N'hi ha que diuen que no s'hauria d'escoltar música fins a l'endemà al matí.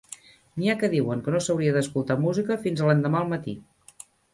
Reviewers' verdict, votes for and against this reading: rejected, 1, 2